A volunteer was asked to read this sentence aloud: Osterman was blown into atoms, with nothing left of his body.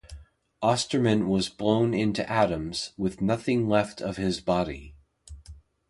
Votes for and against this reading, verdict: 2, 0, accepted